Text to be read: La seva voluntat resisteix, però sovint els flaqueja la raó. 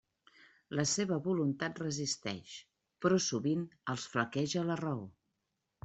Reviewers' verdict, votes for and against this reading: accepted, 3, 0